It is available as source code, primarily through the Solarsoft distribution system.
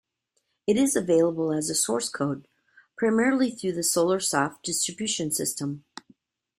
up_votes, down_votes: 2, 1